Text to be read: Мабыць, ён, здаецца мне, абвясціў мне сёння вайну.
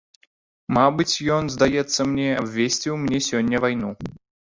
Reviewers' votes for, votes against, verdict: 1, 2, rejected